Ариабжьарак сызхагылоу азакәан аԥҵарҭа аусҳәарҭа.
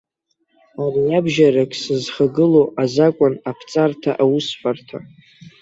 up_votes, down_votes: 0, 3